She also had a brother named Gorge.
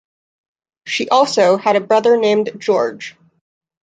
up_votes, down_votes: 0, 2